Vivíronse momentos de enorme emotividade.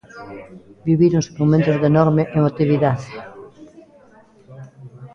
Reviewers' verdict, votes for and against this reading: rejected, 0, 2